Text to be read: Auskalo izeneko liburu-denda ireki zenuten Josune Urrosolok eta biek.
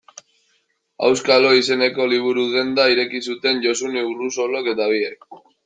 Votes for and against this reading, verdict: 1, 2, rejected